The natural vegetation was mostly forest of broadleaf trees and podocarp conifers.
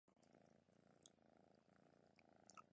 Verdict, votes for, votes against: rejected, 0, 2